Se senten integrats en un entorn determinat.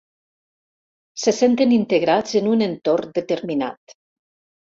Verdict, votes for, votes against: accepted, 4, 0